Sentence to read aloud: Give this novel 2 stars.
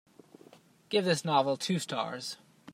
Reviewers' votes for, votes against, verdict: 0, 2, rejected